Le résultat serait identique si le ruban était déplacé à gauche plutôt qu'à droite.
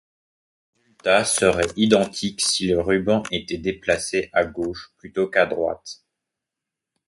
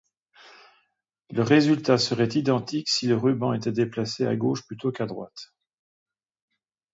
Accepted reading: second